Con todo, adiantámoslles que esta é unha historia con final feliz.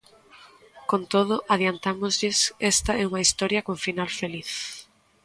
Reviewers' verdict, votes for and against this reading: rejected, 1, 2